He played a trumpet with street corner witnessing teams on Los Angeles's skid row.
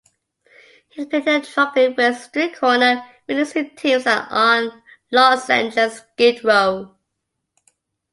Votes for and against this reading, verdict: 0, 2, rejected